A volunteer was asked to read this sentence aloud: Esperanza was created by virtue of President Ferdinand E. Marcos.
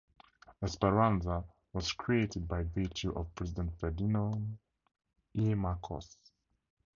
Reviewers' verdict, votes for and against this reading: rejected, 2, 2